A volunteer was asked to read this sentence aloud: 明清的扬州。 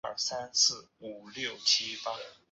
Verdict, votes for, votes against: rejected, 1, 2